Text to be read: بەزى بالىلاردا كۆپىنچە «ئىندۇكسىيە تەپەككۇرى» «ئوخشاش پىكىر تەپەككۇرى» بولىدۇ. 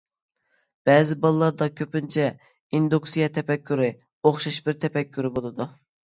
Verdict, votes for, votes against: rejected, 1, 2